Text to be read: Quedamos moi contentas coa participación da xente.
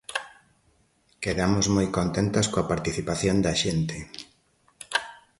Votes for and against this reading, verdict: 2, 0, accepted